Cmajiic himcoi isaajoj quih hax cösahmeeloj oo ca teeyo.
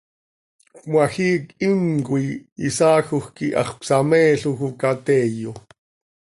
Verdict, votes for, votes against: accepted, 2, 0